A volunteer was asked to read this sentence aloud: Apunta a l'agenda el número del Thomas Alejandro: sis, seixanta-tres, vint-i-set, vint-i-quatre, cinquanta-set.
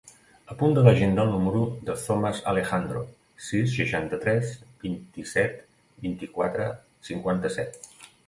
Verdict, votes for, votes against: rejected, 1, 2